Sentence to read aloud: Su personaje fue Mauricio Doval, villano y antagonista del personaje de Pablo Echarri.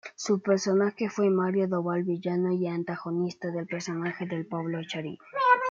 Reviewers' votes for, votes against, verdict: 0, 2, rejected